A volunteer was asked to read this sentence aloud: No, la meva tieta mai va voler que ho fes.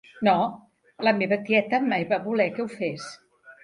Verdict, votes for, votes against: accepted, 3, 0